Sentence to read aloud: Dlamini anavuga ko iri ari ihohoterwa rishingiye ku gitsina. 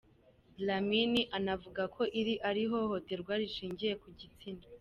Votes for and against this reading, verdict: 2, 0, accepted